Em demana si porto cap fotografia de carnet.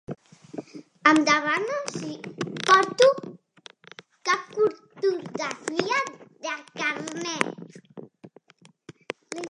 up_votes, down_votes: 0, 2